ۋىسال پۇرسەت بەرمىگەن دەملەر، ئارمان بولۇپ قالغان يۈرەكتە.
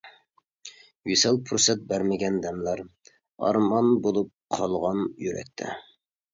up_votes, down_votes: 2, 0